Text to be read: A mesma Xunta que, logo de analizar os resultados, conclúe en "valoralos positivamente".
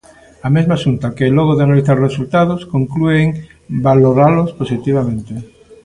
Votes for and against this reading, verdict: 2, 0, accepted